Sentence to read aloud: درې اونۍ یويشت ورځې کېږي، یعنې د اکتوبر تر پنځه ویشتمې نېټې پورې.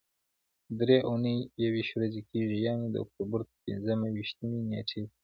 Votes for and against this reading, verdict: 0, 2, rejected